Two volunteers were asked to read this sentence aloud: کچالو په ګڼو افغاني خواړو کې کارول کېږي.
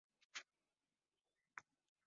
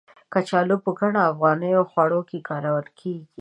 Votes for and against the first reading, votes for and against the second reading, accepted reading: 1, 2, 2, 0, second